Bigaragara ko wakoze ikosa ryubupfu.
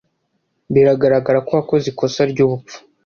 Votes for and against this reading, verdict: 1, 2, rejected